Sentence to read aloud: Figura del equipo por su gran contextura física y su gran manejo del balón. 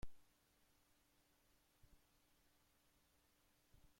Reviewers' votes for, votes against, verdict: 1, 2, rejected